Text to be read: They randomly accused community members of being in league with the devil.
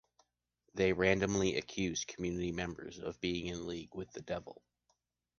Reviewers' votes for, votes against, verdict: 2, 0, accepted